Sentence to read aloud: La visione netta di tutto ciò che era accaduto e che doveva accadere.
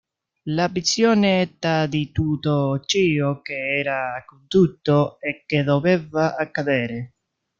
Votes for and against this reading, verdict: 0, 2, rejected